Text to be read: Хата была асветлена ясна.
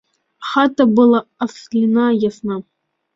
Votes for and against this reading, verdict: 0, 2, rejected